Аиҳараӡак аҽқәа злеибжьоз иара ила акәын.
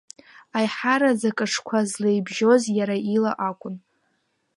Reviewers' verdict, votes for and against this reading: accepted, 2, 0